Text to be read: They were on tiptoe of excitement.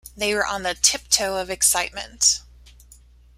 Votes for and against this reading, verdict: 0, 2, rejected